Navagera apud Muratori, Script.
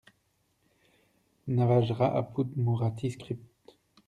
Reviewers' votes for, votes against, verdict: 2, 0, accepted